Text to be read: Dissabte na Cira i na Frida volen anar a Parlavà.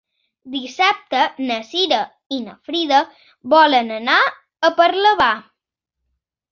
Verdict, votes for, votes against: accepted, 2, 1